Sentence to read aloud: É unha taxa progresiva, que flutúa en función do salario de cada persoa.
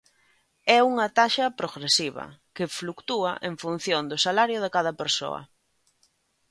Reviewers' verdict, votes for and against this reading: rejected, 1, 2